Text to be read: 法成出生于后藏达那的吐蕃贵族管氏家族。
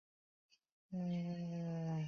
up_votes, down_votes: 0, 4